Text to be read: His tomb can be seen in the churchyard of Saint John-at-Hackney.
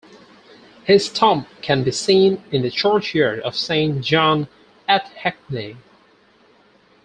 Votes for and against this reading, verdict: 0, 4, rejected